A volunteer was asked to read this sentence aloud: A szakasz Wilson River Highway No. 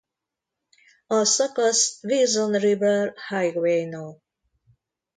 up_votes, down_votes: 0, 2